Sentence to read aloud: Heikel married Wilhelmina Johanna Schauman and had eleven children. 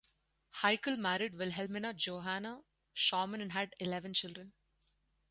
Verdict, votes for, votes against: rejected, 0, 4